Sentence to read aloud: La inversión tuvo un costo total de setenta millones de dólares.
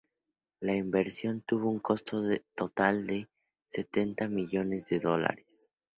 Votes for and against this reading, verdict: 0, 2, rejected